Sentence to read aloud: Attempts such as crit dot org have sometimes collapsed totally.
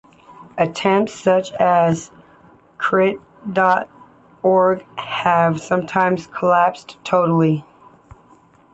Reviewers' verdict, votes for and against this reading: accepted, 2, 0